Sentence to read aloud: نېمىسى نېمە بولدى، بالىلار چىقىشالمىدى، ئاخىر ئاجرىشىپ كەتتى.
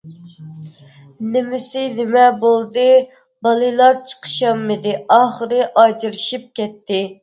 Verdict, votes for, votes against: rejected, 0, 2